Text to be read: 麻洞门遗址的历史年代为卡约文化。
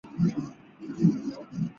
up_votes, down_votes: 2, 0